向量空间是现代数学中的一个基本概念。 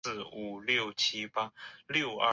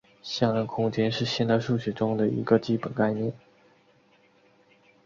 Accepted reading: second